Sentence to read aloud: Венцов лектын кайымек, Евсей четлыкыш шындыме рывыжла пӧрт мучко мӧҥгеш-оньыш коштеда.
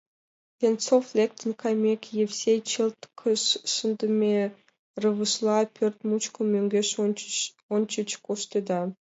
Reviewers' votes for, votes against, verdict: 1, 2, rejected